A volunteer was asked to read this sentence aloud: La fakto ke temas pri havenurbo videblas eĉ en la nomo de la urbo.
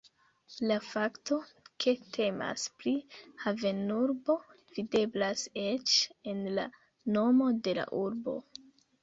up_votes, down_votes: 2, 0